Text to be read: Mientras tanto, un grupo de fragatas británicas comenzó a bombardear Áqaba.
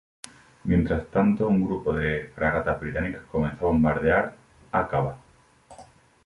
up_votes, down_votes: 2, 0